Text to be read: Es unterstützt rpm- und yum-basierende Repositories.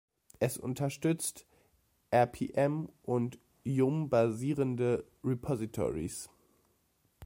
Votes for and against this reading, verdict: 2, 0, accepted